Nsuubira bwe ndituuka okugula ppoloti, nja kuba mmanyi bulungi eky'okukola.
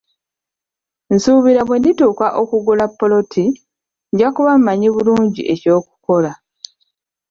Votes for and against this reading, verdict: 2, 1, accepted